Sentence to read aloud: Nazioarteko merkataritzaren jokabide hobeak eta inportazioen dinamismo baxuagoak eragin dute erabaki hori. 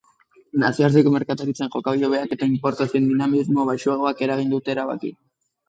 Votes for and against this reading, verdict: 1, 3, rejected